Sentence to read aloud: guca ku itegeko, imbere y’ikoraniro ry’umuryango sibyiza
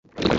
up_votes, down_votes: 1, 2